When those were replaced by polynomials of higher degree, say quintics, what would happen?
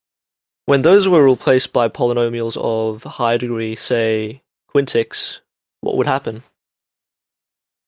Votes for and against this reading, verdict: 0, 2, rejected